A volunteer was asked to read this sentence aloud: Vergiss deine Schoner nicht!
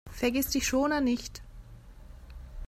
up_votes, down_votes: 0, 2